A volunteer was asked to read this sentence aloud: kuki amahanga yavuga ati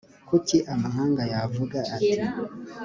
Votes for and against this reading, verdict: 3, 0, accepted